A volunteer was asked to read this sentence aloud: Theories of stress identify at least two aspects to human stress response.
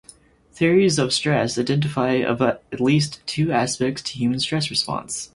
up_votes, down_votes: 0, 4